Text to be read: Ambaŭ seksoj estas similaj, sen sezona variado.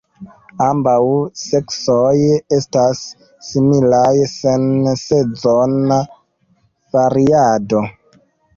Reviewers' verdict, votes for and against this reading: rejected, 0, 2